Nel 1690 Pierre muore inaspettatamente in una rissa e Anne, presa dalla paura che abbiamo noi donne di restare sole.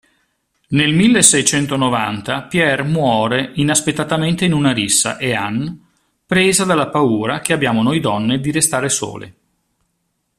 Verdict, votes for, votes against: rejected, 0, 2